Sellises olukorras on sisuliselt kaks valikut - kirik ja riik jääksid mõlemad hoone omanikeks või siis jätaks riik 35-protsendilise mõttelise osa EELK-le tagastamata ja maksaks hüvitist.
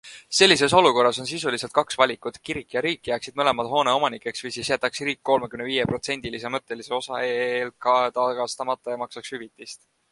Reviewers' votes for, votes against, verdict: 0, 2, rejected